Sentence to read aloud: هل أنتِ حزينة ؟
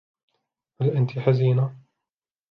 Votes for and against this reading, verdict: 2, 0, accepted